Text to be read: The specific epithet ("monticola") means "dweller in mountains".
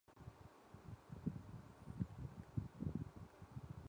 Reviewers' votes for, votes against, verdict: 0, 2, rejected